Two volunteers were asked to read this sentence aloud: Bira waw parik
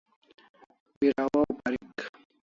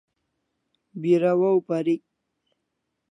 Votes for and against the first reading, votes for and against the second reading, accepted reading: 1, 2, 2, 0, second